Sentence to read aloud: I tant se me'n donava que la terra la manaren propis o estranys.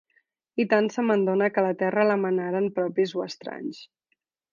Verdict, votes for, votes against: rejected, 1, 3